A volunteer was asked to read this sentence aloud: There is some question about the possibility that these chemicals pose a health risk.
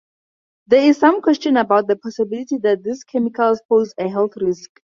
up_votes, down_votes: 2, 2